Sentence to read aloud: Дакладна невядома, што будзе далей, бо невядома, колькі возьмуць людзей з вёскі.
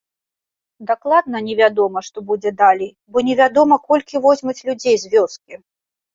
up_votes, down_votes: 1, 2